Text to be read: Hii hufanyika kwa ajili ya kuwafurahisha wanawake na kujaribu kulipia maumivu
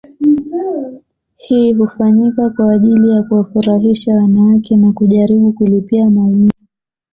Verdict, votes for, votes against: accepted, 2, 1